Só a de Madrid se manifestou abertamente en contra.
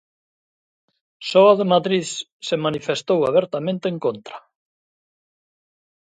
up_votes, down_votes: 1, 2